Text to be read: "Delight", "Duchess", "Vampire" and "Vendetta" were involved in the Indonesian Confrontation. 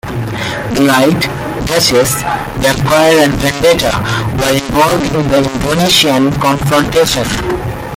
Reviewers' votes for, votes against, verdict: 1, 2, rejected